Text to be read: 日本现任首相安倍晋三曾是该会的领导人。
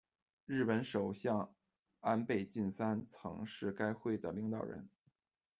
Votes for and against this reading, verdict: 1, 2, rejected